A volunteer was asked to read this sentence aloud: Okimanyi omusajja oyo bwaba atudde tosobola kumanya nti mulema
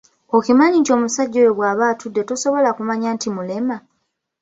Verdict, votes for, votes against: accepted, 2, 1